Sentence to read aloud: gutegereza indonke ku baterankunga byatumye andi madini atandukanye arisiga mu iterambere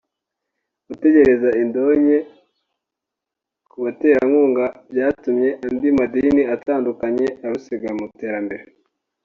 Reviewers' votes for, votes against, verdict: 0, 2, rejected